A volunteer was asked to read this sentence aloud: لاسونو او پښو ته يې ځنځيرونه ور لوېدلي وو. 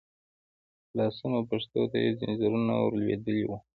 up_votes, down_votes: 2, 1